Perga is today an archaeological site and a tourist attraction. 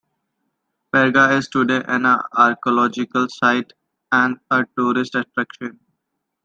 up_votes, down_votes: 1, 2